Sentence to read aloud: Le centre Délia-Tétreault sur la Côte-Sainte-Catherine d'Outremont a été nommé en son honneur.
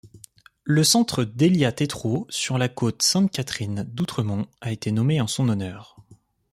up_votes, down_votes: 2, 0